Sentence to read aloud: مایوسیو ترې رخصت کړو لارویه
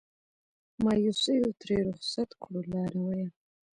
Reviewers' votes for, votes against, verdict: 1, 2, rejected